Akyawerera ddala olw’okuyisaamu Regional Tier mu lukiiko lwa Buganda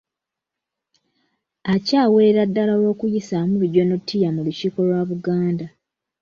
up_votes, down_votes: 1, 2